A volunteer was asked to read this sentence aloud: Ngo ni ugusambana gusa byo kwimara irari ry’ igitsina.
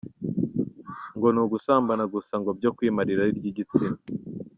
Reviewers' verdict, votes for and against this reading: rejected, 1, 2